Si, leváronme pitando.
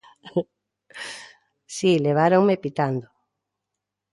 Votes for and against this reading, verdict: 2, 0, accepted